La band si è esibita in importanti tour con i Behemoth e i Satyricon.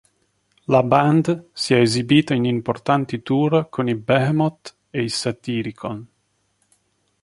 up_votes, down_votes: 5, 4